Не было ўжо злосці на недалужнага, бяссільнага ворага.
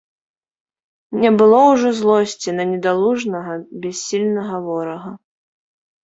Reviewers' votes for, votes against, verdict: 2, 0, accepted